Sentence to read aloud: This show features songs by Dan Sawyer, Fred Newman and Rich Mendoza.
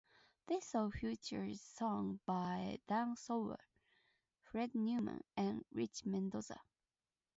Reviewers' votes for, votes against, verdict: 0, 2, rejected